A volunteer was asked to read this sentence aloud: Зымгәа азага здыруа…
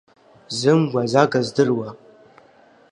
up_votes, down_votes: 2, 0